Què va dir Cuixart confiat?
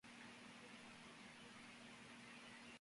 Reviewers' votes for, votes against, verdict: 0, 2, rejected